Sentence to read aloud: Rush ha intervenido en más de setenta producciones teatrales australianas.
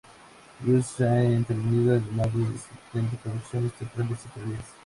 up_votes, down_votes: 0, 2